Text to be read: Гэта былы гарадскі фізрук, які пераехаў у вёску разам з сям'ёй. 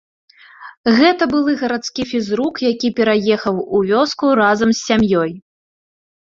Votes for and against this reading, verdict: 2, 0, accepted